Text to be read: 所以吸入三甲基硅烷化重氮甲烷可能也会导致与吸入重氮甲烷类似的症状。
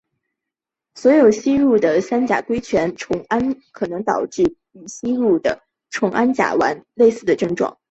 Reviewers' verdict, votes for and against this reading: accepted, 4, 1